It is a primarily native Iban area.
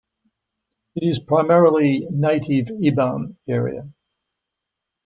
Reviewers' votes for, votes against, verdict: 0, 2, rejected